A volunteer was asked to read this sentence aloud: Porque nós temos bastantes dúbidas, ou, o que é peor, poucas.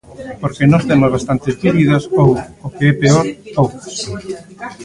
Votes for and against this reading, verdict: 0, 2, rejected